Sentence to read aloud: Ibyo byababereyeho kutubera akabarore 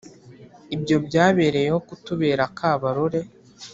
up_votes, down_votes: 0, 2